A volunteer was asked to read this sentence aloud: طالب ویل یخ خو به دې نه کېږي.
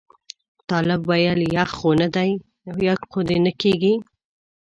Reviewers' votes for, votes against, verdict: 0, 2, rejected